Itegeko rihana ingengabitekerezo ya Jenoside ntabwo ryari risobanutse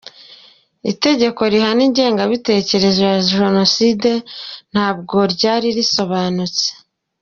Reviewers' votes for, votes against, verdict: 2, 0, accepted